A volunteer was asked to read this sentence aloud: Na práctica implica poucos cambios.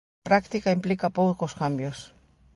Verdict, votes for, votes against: rejected, 1, 2